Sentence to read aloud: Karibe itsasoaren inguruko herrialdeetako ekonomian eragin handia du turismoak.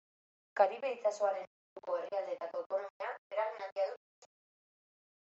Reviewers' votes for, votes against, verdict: 0, 2, rejected